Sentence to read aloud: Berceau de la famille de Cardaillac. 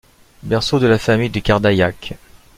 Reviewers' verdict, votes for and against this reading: accepted, 2, 0